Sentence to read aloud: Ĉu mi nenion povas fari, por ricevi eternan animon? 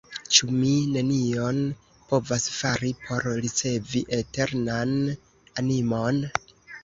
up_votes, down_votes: 1, 2